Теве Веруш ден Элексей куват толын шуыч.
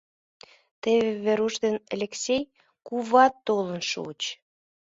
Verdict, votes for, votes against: accepted, 2, 0